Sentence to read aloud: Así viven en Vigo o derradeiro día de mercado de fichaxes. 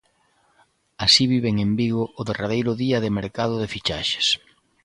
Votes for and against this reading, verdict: 2, 1, accepted